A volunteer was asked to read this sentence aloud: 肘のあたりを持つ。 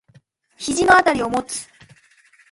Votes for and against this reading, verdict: 2, 0, accepted